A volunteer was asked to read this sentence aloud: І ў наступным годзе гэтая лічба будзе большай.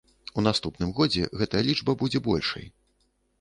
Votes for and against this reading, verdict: 0, 2, rejected